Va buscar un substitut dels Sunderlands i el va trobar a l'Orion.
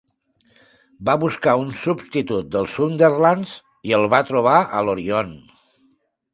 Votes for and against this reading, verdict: 2, 1, accepted